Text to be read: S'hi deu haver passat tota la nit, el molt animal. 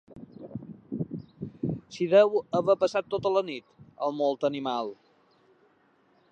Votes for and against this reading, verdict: 4, 0, accepted